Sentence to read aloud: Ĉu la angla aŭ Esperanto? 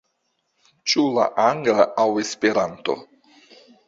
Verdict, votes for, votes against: accepted, 2, 0